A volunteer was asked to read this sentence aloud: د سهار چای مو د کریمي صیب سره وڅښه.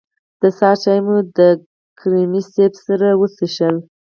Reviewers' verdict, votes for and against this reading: accepted, 4, 0